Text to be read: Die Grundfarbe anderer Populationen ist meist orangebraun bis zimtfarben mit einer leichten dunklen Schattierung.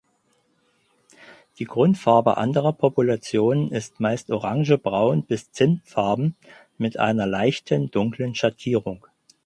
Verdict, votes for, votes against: rejected, 2, 4